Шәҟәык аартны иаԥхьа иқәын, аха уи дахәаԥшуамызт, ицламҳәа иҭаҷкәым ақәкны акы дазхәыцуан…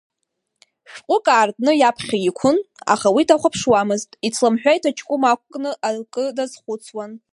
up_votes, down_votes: 0, 2